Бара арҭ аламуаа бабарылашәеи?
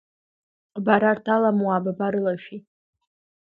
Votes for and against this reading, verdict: 2, 1, accepted